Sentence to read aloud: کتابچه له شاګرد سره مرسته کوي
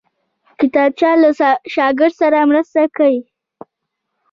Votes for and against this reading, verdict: 0, 2, rejected